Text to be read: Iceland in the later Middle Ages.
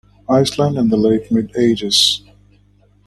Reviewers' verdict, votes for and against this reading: rejected, 1, 2